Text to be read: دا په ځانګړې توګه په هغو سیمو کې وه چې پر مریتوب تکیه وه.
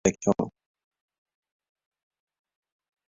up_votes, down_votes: 0, 2